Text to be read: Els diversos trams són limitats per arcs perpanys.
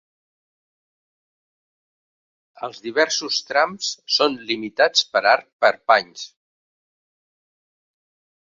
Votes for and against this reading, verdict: 0, 2, rejected